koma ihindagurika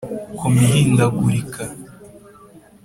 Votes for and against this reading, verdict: 2, 0, accepted